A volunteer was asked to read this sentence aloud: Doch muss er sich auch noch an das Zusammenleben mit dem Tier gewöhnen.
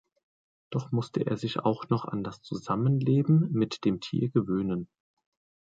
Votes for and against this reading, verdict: 0, 2, rejected